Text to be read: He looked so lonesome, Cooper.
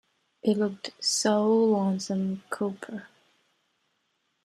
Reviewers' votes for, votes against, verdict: 2, 0, accepted